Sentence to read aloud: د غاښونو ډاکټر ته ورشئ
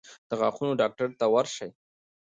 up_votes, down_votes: 2, 0